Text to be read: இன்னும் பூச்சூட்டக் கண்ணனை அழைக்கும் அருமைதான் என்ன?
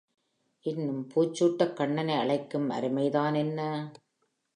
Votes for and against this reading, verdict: 2, 0, accepted